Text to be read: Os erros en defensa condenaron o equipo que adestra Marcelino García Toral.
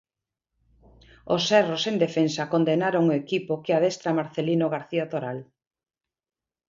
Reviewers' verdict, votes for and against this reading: accepted, 2, 0